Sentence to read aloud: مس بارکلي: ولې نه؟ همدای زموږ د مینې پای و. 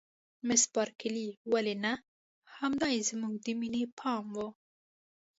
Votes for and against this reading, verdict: 2, 1, accepted